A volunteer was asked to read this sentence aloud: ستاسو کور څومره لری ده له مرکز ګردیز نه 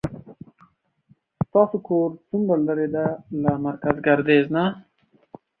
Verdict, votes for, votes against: accepted, 2, 0